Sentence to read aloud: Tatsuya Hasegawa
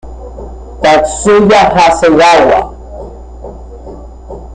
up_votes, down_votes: 2, 0